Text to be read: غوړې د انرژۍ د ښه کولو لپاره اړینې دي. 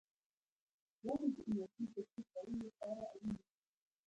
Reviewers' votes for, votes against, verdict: 0, 2, rejected